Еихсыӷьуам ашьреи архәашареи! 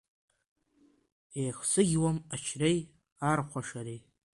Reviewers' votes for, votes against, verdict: 0, 2, rejected